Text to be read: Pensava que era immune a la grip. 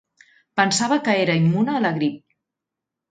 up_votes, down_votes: 21, 0